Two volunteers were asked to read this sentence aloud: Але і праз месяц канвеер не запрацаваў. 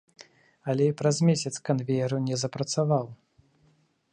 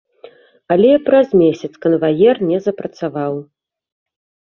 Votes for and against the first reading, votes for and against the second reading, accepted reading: 2, 0, 0, 2, first